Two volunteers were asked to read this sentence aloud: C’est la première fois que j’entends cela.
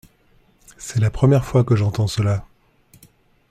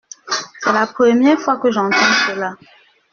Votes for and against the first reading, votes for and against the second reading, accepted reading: 2, 0, 0, 2, first